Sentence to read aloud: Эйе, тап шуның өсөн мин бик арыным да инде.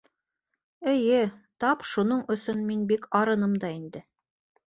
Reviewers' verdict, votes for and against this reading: accepted, 2, 0